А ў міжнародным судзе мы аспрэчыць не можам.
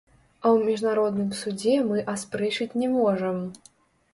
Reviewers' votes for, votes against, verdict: 1, 2, rejected